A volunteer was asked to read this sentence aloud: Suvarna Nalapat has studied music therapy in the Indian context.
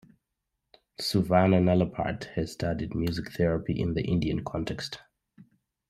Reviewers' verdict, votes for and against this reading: accepted, 2, 0